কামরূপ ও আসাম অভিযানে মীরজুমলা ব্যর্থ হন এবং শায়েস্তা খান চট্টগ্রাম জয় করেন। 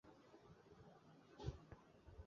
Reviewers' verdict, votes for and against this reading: rejected, 0, 2